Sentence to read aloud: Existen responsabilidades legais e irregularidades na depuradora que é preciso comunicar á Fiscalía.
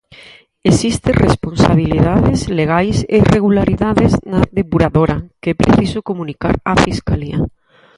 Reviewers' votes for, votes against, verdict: 0, 4, rejected